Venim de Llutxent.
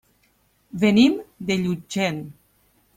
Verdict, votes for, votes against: accepted, 3, 0